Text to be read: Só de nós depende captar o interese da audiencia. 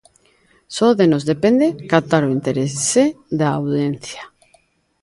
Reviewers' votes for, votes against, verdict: 1, 2, rejected